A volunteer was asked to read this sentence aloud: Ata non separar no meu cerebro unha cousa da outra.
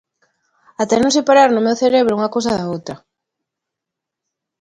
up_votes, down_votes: 2, 0